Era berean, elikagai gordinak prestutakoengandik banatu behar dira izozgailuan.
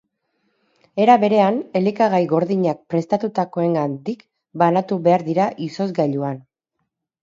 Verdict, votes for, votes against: rejected, 0, 4